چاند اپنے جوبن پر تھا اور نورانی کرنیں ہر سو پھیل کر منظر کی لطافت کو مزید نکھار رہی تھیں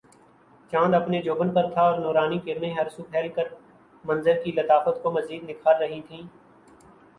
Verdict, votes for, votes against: rejected, 1, 2